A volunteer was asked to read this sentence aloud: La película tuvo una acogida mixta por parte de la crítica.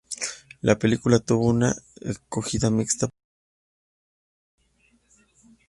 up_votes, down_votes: 0, 2